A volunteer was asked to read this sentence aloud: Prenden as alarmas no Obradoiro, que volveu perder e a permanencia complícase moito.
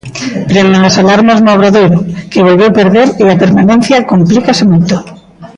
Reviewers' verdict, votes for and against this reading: rejected, 0, 2